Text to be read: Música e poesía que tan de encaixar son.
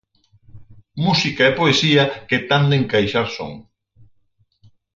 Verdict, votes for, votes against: accepted, 6, 0